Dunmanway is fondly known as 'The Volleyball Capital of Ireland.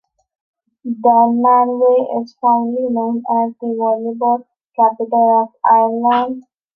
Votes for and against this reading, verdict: 0, 2, rejected